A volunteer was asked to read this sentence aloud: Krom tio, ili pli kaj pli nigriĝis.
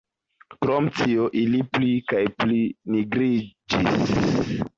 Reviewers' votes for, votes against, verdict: 2, 0, accepted